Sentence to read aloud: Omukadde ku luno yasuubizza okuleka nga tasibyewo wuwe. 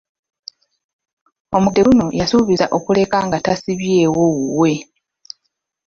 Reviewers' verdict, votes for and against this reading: rejected, 0, 2